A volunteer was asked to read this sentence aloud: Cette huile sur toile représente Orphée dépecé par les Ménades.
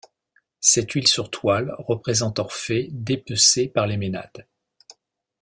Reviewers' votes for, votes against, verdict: 2, 0, accepted